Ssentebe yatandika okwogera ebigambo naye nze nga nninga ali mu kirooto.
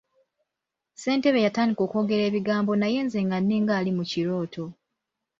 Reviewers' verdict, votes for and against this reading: accepted, 2, 0